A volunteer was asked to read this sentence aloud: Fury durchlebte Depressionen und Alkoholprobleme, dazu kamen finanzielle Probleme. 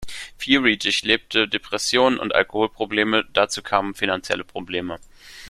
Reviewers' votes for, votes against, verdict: 0, 2, rejected